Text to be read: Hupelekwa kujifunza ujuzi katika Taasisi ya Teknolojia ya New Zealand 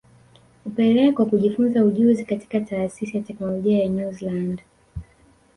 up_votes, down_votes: 0, 2